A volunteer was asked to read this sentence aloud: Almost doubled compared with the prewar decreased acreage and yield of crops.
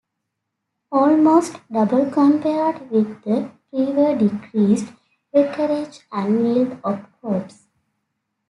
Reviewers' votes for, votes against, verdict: 1, 2, rejected